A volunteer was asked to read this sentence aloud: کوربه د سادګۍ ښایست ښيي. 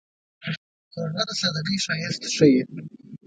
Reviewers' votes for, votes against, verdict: 1, 2, rejected